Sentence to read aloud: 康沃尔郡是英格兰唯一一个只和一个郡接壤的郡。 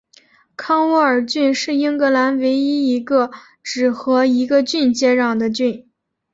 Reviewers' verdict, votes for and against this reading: accepted, 2, 0